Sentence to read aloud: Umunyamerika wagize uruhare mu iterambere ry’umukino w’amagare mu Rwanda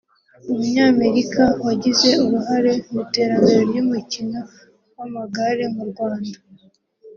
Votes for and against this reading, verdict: 3, 0, accepted